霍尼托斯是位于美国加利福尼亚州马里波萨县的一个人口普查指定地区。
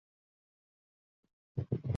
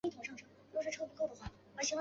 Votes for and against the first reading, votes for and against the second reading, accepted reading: 1, 2, 2, 1, second